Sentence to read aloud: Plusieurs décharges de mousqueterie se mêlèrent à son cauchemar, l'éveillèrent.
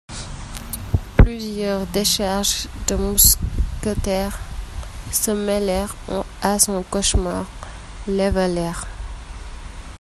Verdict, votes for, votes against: rejected, 0, 2